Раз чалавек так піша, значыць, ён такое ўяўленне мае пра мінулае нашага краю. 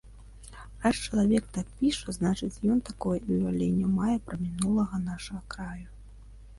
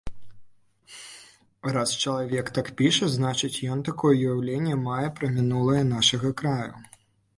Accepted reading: second